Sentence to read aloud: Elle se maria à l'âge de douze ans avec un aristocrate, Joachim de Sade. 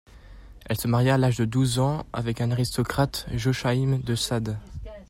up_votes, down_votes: 2, 0